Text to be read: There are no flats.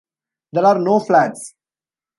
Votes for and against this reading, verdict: 1, 2, rejected